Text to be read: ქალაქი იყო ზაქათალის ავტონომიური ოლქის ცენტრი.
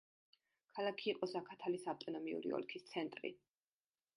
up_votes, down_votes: 2, 0